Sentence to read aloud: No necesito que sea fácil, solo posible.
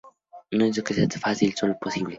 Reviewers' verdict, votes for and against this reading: rejected, 0, 2